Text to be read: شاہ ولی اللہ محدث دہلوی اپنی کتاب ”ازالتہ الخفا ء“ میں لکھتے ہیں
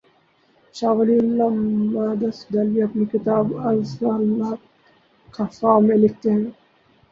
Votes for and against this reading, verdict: 0, 2, rejected